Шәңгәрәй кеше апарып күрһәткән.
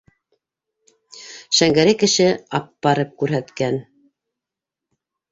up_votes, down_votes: 0, 2